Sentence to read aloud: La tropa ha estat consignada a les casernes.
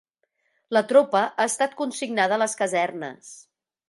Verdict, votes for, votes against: accepted, 3, 0